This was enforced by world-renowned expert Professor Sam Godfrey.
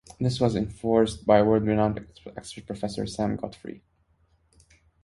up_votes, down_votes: 0, 2